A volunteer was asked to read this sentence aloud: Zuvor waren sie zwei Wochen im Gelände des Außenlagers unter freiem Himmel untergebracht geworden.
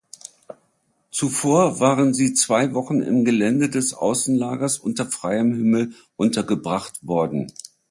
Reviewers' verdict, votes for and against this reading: rejected, 0, 2